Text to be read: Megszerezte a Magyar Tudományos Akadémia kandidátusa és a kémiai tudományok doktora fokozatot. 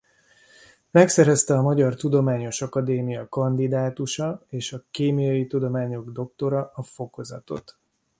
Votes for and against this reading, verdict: 1, 2, rejected